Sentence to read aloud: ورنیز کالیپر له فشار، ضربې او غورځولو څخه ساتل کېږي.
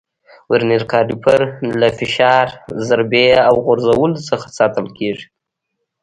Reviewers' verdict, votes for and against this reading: rejected, 0, 2